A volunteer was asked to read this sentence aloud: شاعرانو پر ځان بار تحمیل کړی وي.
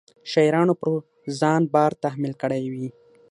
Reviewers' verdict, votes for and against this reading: accepted, 6, 0